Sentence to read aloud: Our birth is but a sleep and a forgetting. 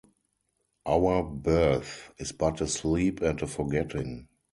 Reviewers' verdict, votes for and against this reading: rejected, 0, 2